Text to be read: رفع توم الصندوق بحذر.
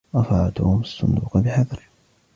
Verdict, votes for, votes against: accepted, 3, 1